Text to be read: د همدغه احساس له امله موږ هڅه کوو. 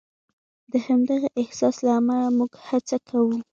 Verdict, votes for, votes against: rejected, 1, 2